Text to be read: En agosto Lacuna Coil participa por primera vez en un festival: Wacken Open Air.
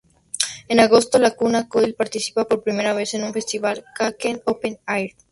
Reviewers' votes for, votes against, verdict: 2, 0, accepted